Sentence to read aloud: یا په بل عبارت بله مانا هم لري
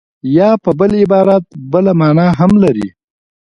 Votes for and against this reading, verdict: 2, 0, accepted